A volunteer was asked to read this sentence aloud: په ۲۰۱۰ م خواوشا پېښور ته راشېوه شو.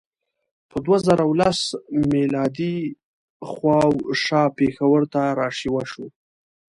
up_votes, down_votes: 0, 2